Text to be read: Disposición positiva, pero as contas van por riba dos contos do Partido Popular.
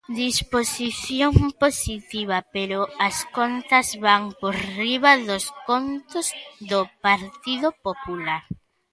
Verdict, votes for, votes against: accepted, 2, 1